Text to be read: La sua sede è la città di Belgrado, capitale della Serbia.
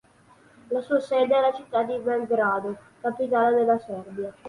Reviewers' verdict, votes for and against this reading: accepted, 3, 0